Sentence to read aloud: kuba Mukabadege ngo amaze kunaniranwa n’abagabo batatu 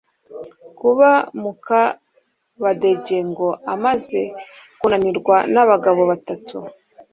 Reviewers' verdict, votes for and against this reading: rejected, 1, 2